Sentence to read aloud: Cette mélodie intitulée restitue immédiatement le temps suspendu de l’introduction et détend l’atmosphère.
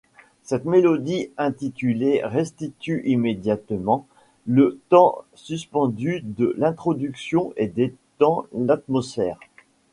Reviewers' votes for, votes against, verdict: 1, 2, rejected